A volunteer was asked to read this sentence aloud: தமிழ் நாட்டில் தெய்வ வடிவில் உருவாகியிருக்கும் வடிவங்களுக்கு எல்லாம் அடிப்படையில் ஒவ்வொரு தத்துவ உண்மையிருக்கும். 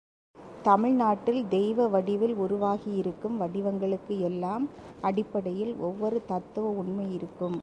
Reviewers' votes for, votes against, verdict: 2, 1, accepted